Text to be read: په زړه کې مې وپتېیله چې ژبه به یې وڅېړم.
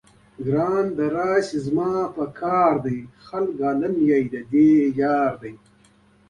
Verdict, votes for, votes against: rejected, 0, 2